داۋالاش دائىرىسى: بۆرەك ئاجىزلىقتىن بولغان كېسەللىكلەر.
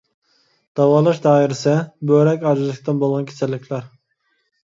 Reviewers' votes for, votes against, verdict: 2, 0, accepted